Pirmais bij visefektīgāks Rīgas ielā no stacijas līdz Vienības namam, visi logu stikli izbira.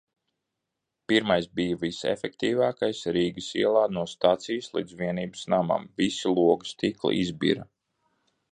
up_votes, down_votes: 0, 2